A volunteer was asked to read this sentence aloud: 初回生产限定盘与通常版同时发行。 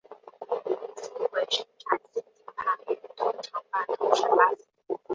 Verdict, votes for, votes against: rejected, 0, 2